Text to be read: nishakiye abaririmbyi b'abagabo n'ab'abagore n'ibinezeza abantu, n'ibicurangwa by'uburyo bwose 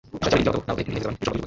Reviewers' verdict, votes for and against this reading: rejected, 0, 2